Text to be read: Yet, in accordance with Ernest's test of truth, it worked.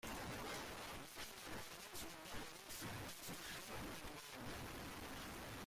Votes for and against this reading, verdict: 0, 2, rejected